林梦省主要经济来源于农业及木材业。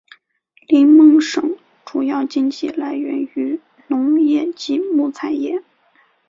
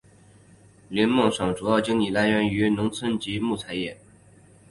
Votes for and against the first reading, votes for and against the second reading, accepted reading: 2, 0, 3, 4, first